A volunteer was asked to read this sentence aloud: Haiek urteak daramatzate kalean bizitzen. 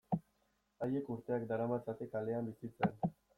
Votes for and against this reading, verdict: 1, 2, rejected